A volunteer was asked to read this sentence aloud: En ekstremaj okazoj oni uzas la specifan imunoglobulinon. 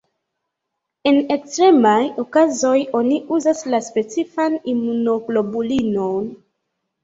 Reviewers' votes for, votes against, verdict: 0, 2, rejected